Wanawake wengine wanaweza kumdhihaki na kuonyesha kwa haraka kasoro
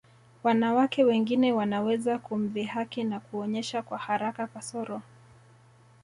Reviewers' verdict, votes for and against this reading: accepted, 2, 1